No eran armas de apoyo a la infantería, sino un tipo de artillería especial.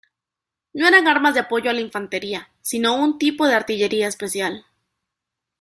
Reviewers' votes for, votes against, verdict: 2, 0, accepted